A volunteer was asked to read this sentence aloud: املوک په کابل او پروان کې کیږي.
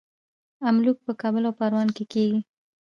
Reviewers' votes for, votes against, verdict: 1, 2, rejected